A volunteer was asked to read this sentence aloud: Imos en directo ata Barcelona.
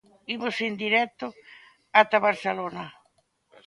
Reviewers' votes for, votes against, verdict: 2, 0, accepted